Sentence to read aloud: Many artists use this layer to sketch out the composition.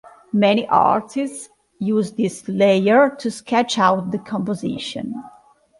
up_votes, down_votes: 2, 0